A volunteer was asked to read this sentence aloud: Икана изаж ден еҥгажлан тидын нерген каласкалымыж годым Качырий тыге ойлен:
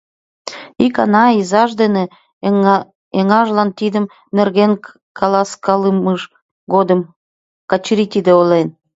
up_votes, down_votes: 0, 2